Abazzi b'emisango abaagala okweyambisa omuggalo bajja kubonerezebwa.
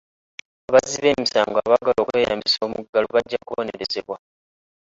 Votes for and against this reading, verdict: 1, 2, rejected